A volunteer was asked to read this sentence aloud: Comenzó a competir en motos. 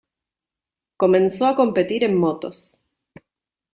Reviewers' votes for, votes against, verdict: 2, 0, accepted